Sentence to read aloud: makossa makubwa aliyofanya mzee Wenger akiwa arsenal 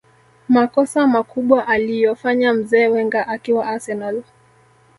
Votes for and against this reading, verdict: 3, 0, accepted